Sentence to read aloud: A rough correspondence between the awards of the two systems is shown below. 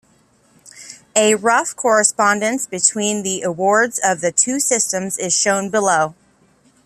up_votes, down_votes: 3, 0